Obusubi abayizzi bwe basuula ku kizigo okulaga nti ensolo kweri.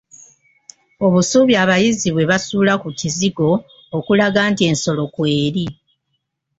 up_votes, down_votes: 1, 2